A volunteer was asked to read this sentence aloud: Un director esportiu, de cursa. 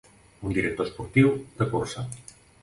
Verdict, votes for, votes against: accepted, 2, 0